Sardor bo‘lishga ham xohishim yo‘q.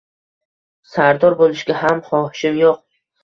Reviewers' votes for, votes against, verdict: 2, 0, accepted